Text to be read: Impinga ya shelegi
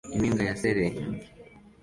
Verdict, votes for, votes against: accepted, 2, 0